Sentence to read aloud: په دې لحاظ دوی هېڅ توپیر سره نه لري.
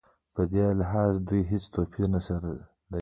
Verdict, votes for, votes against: accepted, 2, 1